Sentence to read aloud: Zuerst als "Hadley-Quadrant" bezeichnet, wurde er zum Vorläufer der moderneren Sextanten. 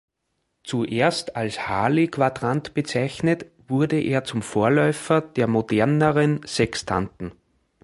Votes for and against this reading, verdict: 1, 2, rejected